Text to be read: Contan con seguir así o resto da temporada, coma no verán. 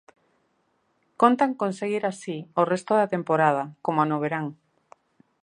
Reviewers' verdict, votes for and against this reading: rejected, 0, 2